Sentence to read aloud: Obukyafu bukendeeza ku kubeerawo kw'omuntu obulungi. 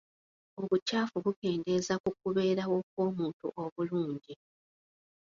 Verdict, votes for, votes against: accepted, 2, 1